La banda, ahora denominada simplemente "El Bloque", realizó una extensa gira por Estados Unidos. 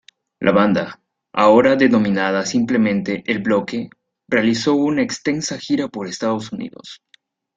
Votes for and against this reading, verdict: 2, 0, accepted